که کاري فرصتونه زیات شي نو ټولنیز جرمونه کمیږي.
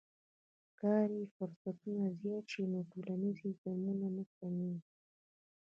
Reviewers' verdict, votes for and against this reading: rejected, 0, 2